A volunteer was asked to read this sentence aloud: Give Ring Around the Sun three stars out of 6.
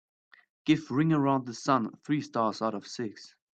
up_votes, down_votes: 0, 2